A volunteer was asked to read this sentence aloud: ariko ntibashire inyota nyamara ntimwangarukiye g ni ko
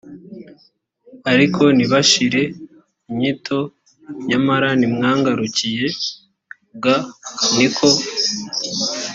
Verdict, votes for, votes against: rejected, 1, 2